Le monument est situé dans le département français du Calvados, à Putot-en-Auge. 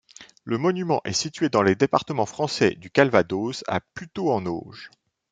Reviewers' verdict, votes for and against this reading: rejected, 0, 2